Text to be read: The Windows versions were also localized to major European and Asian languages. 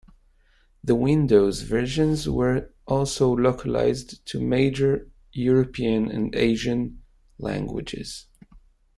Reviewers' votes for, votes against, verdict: 2, 0, accepted